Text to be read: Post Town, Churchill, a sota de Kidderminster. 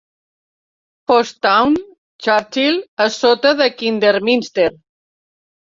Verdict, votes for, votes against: rejected, 0, 2